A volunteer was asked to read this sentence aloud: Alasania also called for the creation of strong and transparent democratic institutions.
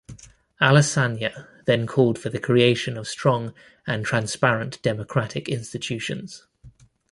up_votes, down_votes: 0, 2